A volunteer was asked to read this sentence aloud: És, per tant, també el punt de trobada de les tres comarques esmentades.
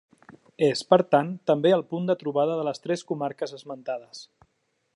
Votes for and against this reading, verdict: 3, 0, accepted